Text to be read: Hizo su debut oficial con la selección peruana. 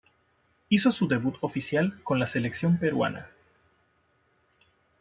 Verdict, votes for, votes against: accepted, 2, 0